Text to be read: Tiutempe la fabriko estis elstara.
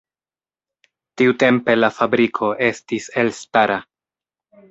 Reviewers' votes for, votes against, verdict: 4, 0, accepted